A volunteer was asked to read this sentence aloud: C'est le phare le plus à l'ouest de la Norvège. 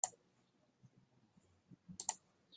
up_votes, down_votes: 0, 2